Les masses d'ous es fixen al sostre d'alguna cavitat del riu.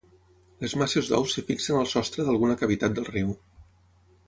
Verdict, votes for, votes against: accepted, 6, 3